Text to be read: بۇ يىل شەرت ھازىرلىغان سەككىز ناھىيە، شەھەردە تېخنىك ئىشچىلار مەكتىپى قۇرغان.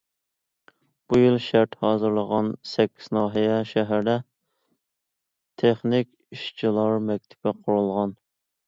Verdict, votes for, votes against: rejected, 0, 2